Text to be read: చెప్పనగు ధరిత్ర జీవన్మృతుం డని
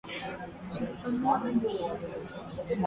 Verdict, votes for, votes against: rejected, 0, 2